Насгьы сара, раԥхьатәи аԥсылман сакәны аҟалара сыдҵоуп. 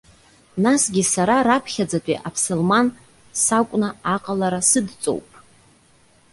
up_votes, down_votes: 0, 2